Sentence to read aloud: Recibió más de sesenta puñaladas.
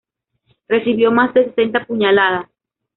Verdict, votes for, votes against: rejected, 0, 2